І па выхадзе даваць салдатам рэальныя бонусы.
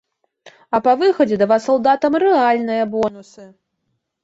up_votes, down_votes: 0, 2